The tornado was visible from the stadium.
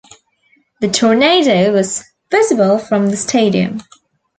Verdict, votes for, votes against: accepted, 2, 0